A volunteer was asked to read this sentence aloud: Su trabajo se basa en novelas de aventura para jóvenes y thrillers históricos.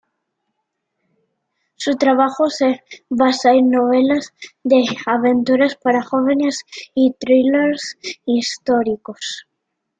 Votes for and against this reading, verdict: 2, 0, accepted